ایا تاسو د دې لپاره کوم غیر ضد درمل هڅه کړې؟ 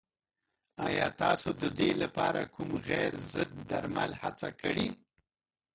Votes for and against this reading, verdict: 1, 2, rejected